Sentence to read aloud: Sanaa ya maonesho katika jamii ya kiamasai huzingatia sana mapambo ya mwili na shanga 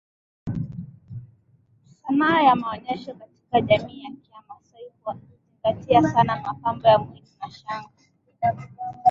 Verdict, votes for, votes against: rejected, 2, 4